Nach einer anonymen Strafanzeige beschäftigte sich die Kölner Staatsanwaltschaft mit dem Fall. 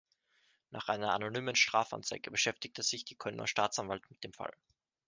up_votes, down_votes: 0, 2